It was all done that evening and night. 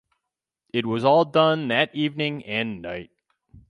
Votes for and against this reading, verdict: 2, 2, rejected